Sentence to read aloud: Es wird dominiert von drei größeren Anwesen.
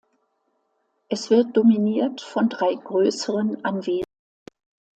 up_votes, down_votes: 2, 0